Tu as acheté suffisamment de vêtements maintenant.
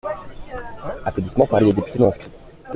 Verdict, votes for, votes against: rejected, 0, 2